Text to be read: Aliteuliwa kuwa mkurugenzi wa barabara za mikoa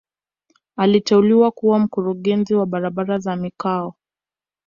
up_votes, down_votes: 1, 2